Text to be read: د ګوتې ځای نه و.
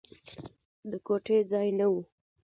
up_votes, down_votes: 2, 1